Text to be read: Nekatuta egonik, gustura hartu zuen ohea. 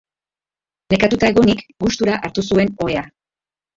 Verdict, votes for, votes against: accepted, 4, 3